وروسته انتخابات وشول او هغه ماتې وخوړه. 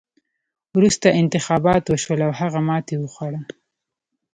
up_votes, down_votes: 0, 2